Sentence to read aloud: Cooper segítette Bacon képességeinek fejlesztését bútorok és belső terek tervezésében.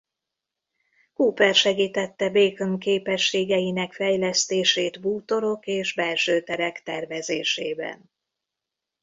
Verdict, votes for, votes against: rejected, 1, 2